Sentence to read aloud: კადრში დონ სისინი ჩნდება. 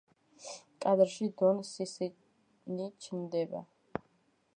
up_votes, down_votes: 2, 1